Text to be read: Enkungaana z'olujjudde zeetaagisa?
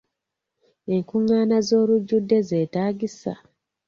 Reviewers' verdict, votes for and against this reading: accepted, 2, 0